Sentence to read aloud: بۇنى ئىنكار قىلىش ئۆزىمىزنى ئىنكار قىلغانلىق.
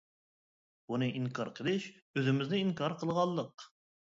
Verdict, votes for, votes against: accepted, 2, 0